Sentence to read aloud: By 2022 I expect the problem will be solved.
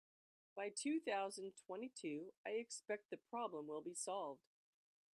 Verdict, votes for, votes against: rejected, 0, 2